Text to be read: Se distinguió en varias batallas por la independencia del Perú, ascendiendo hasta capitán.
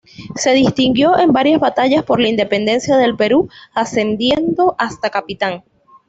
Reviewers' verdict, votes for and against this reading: accepted, 2, 0